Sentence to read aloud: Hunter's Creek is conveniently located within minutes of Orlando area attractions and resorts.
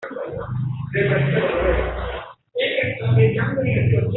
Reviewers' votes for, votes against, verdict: 0, 2, rejected